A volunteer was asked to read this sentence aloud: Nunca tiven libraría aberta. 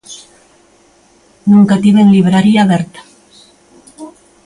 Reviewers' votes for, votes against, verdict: 2, 0, accepted